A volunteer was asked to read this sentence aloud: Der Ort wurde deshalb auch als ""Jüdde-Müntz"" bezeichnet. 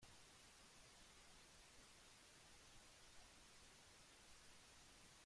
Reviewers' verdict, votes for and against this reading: rejected, 0, 2